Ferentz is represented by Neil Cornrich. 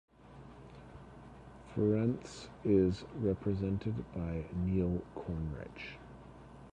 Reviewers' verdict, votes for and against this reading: accepted, 2, 0